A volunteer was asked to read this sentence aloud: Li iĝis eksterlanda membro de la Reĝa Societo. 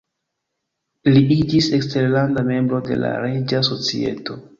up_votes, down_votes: 3, 1